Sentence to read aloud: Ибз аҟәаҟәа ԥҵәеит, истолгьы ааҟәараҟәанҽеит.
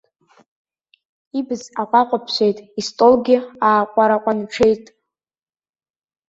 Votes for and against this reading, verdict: 0, 2, rejected